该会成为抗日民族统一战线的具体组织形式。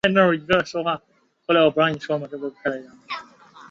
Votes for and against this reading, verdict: 0, 2, rejected